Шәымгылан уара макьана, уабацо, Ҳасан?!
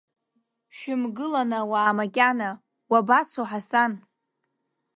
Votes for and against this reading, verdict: 0, 2, rejected